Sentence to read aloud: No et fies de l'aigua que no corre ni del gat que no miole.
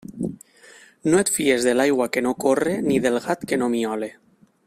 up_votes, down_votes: 2, 1